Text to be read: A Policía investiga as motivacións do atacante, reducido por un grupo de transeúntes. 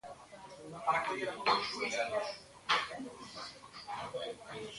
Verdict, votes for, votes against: rejected, 0, 2